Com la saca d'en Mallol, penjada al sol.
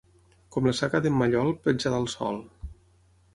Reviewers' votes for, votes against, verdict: 9, 0, accepted